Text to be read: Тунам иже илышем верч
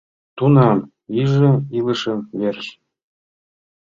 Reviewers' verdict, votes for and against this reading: rejected, 1, 2